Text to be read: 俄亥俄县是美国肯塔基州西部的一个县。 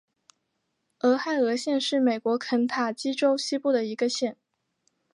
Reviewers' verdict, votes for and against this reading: accepted, 3, 0